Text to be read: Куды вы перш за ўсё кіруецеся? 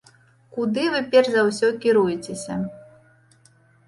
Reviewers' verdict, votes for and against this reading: accepted, 2, 0